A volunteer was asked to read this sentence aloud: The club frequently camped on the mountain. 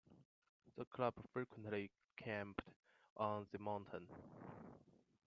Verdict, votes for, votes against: rejected, 0, 2